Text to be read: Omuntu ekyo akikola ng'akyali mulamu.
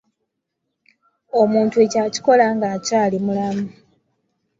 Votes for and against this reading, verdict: 3, 0, accepted